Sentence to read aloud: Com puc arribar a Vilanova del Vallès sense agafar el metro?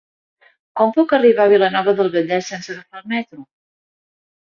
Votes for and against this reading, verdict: 1, 2, rejected